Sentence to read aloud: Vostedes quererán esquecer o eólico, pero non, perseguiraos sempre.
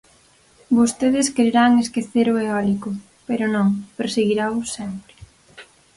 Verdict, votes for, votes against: accepted, 4, 0